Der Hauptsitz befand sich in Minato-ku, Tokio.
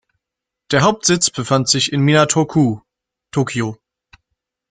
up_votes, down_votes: 1, 2